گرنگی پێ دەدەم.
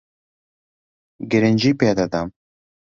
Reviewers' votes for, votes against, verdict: 2, 0, accepted